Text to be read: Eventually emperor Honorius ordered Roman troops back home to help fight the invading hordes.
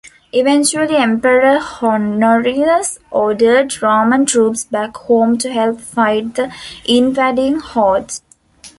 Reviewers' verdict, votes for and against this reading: accepted, 2, 1